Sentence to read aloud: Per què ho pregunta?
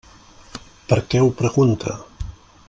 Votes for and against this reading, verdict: 3, 0, accepted